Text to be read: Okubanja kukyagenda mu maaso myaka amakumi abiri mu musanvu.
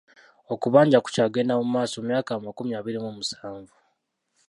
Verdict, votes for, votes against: rejected, 0, 2